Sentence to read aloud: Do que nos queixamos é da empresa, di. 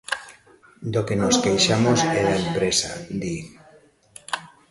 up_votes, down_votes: 1, 2